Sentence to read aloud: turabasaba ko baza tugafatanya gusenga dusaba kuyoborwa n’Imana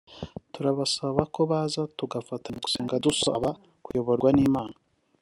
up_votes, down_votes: 0, 2